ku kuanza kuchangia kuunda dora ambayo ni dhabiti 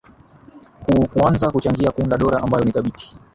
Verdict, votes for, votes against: accepted, 3, 1